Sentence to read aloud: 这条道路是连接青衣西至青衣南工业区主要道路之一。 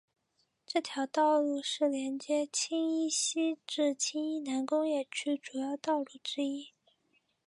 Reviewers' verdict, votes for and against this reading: accepted, 2, 0